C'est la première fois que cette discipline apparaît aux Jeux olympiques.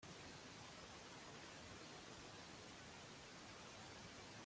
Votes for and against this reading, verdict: 0, 2, rejected